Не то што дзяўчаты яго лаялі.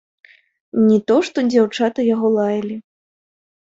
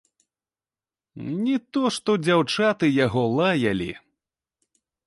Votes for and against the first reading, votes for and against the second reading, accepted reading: 2, 0, 0, 3, first